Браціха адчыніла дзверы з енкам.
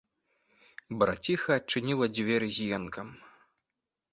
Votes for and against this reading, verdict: 2, 0, accepted